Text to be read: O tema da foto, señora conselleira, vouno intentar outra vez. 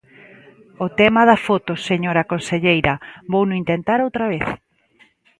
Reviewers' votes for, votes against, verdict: 2, 0, accepted